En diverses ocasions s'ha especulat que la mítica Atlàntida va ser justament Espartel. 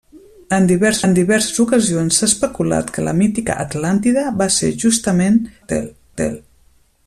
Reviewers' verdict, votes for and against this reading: rejected, 0, 2